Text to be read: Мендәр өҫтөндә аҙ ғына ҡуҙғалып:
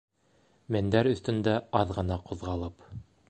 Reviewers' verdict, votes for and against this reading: accepted, 2, 0